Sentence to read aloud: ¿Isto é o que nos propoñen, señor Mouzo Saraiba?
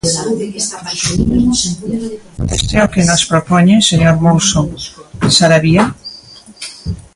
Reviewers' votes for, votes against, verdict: 0, 2, rejected